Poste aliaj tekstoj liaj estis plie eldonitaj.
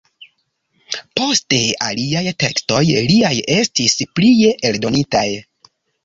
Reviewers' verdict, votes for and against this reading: accepted, 2, 0